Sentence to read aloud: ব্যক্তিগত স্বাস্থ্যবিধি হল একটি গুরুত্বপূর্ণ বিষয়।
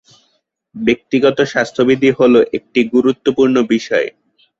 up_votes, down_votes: 2, 0